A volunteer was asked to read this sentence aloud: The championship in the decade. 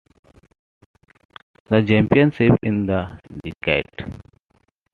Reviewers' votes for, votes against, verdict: 2, 1, accepted